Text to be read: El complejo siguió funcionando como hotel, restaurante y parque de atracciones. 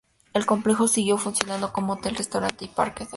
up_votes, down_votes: 0, 2